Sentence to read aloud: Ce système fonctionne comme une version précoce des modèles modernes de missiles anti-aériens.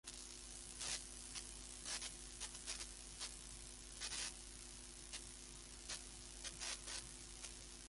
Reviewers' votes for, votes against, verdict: 0, 2, rejected